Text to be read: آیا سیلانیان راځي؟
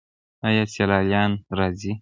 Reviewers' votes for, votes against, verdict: 1, 2, rejected